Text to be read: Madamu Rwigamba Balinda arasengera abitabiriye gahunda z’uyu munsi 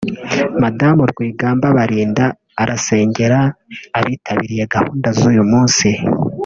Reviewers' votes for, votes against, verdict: 0, 2, rejected